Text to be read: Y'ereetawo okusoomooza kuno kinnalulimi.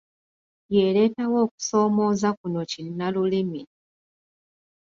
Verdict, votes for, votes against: accepted, 2, 0